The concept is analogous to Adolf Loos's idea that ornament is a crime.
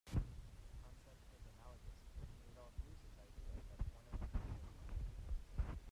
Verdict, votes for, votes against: rejected, 0, 2